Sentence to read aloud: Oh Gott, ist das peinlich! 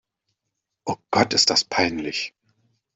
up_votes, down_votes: 2, 0